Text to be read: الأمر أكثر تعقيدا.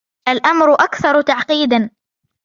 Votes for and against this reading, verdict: 1, 2, rejected